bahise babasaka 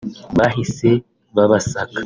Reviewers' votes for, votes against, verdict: 2, 0, accepted